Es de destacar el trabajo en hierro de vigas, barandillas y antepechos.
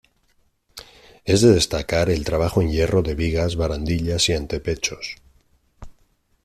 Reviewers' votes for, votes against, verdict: 2, 0, accepted